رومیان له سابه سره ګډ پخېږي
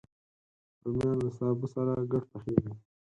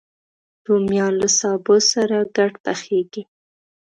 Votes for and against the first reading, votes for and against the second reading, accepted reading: 2, 4, 2, 0, second